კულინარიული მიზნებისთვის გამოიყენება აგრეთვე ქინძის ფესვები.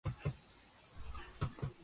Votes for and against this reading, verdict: 0, 2, rejected